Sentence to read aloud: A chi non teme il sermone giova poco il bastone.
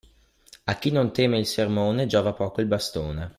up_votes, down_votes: 2, 0